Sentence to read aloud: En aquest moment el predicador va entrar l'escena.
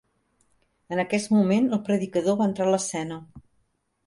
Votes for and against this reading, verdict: 3, 0, accepted